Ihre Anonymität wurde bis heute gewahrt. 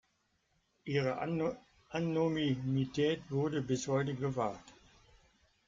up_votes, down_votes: 0, 2